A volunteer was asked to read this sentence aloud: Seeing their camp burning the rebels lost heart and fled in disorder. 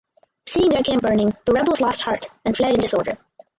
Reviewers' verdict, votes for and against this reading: rejected, 0, 4